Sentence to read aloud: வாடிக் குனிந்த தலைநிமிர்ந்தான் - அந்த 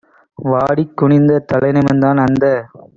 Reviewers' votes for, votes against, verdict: 2, 0, accepted